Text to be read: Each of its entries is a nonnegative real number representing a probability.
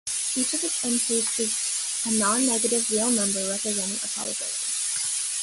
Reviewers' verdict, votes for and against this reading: rejected, 1, 2